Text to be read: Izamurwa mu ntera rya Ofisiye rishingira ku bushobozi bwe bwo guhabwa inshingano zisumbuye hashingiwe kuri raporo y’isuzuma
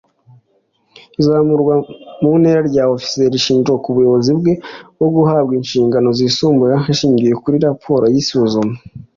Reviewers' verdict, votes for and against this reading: rejected, 0, 2